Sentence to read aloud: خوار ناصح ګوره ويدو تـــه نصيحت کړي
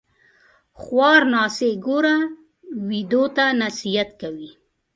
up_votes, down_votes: 1, 2